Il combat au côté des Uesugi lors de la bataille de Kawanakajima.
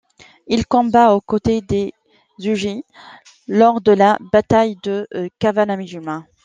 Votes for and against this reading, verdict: 0, 2, rejected